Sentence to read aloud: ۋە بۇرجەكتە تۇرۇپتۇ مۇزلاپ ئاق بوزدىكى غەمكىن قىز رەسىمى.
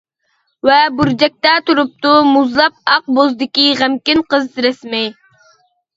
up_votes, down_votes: 1, 2